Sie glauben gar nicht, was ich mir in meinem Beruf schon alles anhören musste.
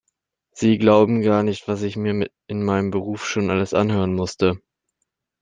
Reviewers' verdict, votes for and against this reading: rejected, 1, 2